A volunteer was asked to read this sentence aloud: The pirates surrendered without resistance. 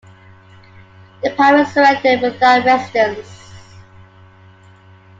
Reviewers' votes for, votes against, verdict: 1, 2, rejected